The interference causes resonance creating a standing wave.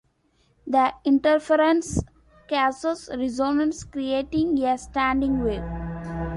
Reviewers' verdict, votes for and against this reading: rejected, 0, 2